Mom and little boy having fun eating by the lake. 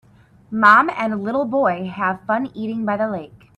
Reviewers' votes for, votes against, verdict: 3, 4, rejected